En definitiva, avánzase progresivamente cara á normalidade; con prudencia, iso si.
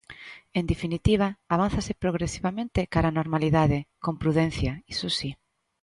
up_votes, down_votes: 2, 0